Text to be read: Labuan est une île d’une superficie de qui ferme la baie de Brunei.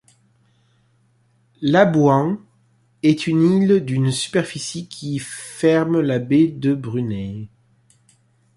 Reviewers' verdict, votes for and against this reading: rejected, 1, 2